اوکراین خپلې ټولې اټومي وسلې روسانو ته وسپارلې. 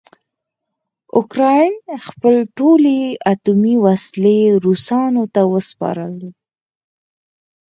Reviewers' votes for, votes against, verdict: 4, 0, accepted